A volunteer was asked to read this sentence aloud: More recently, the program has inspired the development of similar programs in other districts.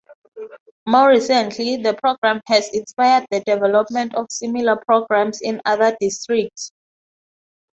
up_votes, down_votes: 6, 0